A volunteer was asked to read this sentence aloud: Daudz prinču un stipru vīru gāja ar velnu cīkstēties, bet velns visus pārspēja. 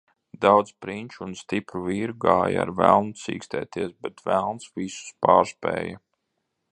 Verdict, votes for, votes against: accepted, 2, 0